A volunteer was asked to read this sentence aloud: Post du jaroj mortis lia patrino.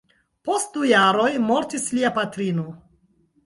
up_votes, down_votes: 4, 0